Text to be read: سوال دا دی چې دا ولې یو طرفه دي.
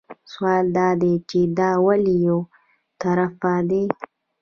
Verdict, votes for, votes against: rejected, 0, 2